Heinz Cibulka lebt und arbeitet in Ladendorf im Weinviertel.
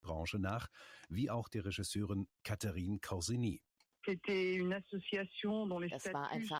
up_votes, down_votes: 0, 2